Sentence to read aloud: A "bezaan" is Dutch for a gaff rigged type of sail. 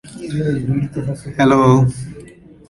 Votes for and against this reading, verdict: 0, 2, rejected